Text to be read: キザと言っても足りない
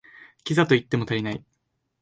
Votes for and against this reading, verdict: 2, 0, accepted